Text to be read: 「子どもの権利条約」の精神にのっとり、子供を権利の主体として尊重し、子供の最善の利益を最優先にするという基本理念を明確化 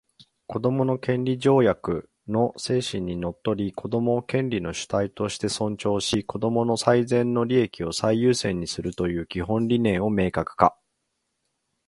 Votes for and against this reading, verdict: 1, 2, rejected